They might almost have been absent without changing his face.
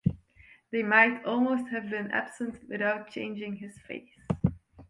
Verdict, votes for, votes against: accepted, 2, 0